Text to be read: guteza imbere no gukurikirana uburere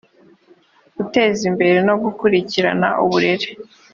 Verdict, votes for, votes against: accepted, 2, 0